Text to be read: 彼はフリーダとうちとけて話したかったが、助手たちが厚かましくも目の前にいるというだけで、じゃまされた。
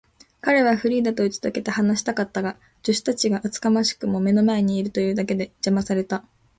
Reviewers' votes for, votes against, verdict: 2, 0, accepted